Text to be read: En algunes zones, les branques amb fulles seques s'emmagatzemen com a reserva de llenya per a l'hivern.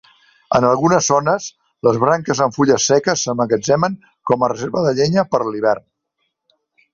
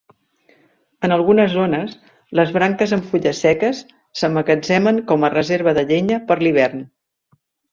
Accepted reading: first